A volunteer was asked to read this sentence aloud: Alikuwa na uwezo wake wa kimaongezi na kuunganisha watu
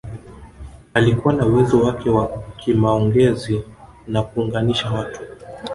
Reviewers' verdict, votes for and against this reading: rejected, 1, 2